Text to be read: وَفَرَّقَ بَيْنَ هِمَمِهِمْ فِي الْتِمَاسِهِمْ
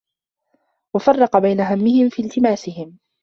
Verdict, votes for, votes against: rejected, 0, 2